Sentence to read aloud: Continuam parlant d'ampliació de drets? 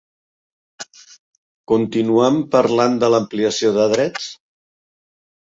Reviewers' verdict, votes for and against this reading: rejected, 1, 3